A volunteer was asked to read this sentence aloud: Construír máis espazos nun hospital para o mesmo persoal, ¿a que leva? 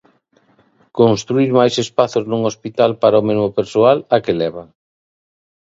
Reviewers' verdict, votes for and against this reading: accepted, 2, 0